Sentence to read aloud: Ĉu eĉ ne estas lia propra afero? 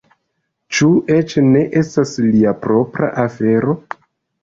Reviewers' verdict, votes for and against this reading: rejected, 0, 2